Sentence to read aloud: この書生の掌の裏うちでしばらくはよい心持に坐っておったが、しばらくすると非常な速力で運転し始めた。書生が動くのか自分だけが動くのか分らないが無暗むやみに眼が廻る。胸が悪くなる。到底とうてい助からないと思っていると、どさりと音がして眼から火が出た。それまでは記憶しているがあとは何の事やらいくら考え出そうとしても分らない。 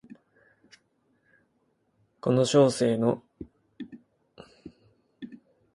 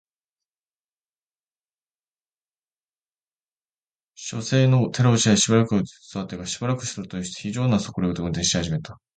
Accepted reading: second